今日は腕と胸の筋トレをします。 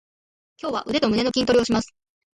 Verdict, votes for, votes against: rejected, 0, 2